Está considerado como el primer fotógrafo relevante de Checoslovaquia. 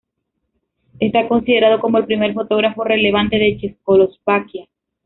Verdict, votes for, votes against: rejected, 1, 2